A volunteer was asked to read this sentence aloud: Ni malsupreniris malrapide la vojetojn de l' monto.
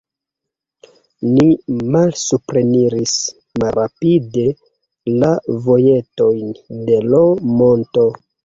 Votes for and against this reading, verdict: 2, 1, accepted